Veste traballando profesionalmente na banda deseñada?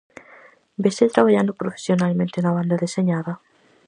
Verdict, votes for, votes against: rejected, 0, 4